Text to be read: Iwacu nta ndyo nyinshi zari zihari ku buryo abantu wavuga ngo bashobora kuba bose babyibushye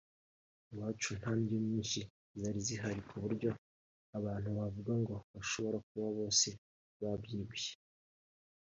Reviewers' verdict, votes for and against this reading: rejected, 0, 2